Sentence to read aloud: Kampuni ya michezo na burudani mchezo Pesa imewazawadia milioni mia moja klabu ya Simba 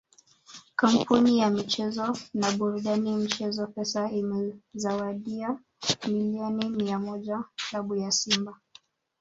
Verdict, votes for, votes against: rejected, 1, 2